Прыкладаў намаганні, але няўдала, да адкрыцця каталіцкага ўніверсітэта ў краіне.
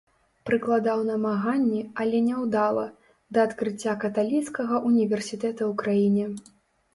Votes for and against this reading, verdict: 2, 0, accepted